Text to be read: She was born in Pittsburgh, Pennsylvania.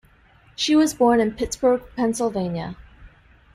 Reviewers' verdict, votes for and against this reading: accepted, 2, 0